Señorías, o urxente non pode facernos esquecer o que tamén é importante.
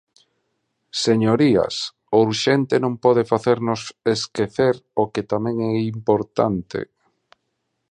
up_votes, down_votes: 2, 0